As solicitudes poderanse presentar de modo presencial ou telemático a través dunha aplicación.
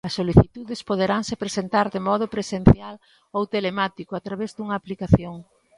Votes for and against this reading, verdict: 2, 0, accepted